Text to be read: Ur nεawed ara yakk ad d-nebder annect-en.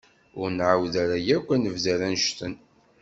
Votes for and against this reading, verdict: 1, 2, rejected